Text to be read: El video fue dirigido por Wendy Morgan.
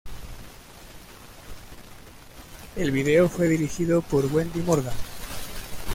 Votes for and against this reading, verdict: 2, 1, accepted